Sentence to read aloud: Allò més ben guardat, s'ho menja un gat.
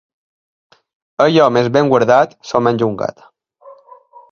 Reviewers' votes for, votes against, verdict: 2, 0, accepted